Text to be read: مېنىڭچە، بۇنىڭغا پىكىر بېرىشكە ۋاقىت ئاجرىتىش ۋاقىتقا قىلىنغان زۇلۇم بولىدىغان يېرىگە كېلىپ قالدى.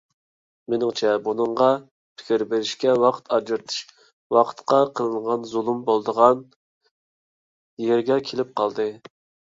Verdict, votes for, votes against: accepted, 2, 1